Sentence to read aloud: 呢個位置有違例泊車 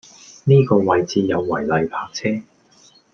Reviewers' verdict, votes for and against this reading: accepted, 2, 0